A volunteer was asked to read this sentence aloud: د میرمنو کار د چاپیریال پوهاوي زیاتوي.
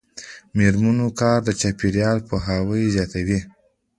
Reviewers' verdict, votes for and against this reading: rejected, 1, 2